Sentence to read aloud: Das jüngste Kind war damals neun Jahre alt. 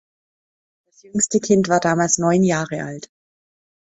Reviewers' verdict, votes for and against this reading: rejected, 0, 2